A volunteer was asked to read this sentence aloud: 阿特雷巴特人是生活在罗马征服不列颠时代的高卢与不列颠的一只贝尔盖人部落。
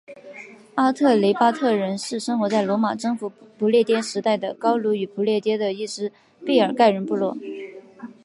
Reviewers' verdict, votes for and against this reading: accepted, 5, 0